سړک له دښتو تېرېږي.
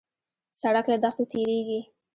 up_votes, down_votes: 1, 2